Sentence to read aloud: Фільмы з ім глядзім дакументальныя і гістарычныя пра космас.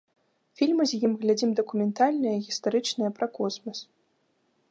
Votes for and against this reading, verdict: 2, 0, accepted